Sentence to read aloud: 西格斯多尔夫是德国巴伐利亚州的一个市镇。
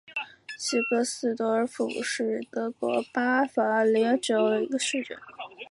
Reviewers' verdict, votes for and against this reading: rejected, 1, 2